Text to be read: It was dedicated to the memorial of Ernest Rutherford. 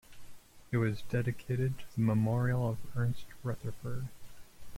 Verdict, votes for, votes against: accepted, 2, 0